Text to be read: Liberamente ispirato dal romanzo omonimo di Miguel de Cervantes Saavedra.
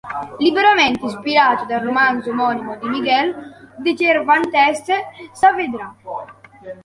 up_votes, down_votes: 1, 2